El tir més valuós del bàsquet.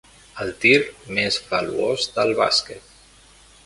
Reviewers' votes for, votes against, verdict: 0, 2, rejected